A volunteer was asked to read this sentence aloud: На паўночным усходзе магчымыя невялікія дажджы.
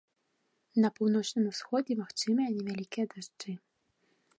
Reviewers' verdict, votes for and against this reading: accepted, 2, 0